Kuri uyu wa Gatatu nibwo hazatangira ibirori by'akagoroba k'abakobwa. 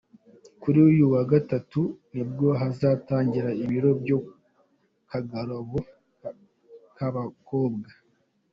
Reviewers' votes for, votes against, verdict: 1, 2, rejected